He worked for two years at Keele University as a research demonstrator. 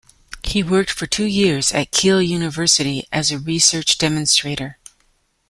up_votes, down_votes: 2, 0